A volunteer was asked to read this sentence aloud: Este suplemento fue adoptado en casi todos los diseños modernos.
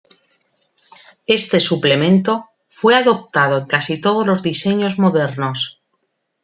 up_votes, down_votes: 1, 2